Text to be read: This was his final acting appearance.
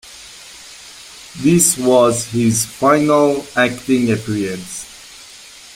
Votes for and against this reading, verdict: 0, 2, rejected